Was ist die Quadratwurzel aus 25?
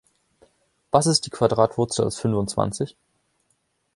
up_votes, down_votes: 0, 2